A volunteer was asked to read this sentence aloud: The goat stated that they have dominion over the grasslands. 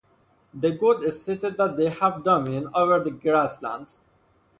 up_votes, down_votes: 0, 2